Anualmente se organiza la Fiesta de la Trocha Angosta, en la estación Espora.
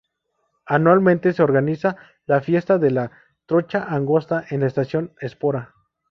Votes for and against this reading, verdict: 2, 0, accepted